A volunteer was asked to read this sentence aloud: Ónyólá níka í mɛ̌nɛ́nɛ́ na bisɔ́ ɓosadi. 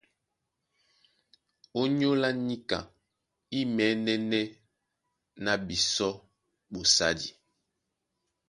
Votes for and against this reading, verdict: 1, 2, rejected